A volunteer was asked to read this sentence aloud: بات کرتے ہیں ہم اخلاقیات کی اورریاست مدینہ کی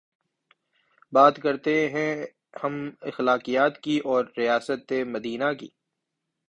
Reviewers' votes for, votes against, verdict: 3, 0, accepted